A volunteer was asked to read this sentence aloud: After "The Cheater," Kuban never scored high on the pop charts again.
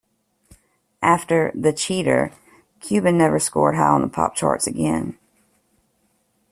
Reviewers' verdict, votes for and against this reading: accepted, 2, 0